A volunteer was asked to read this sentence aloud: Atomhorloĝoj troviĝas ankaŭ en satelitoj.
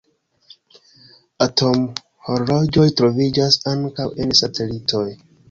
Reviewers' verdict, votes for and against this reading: accepted, 2, 0